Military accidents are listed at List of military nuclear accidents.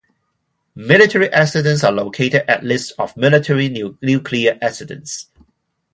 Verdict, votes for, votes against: rejected, 0, 4